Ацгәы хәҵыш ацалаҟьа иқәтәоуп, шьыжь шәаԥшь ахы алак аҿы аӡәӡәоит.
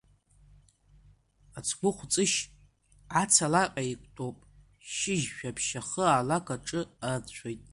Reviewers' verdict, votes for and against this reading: rejected, 1, 2